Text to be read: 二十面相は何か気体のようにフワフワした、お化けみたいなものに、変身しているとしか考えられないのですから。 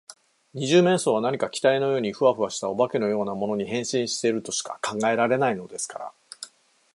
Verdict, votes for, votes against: rejected, 0, 2